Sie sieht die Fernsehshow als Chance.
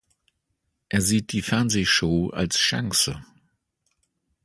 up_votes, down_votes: 1, 2